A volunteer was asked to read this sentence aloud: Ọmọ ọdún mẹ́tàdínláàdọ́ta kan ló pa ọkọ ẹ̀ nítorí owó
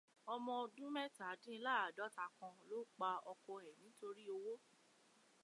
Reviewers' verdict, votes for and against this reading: accepted, 2, 0